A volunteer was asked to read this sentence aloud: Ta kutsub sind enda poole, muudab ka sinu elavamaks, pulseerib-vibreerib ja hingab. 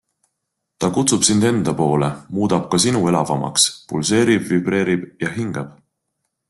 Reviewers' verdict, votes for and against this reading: accepted, 2, 0